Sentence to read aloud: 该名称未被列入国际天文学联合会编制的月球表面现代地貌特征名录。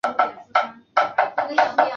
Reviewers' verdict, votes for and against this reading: rejected, 0, 7